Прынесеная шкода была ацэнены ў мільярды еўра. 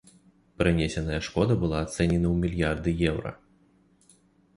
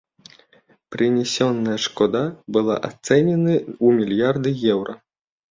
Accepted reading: first